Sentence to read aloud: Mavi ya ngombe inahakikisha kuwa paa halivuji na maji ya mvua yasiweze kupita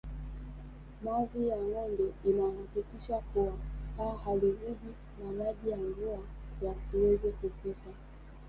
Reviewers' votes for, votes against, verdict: 1, 2, rejected